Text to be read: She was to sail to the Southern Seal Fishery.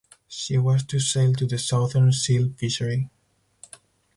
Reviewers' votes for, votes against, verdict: 4, 2, accepted